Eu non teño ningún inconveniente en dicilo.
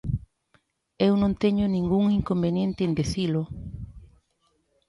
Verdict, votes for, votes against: accepted, 3, 1